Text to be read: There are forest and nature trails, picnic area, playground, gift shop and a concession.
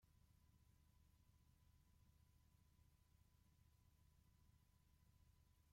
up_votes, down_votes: 0, 2